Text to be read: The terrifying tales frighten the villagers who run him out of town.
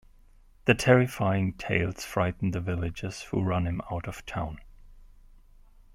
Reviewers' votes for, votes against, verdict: 2, 1, accepted